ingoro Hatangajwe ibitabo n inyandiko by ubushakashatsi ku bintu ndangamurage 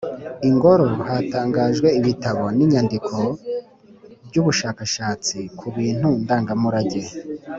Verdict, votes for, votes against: accepted, 3, 0